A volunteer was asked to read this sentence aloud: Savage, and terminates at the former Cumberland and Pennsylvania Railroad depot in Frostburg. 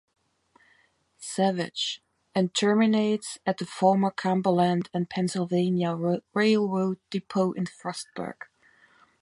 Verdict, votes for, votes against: accepted, 2, 0